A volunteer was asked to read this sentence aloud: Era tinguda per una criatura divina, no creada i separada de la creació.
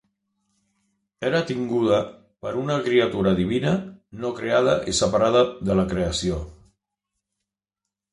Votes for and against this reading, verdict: 3, 0, accepted